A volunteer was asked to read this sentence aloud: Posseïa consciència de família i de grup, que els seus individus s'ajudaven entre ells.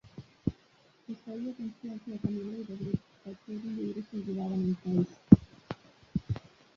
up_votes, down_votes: 0, 3